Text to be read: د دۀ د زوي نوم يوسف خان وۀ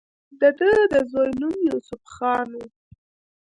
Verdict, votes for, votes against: accepted, 2, 0